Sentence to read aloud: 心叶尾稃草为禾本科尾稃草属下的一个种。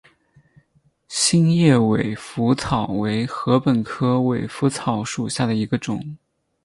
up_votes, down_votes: 10, 0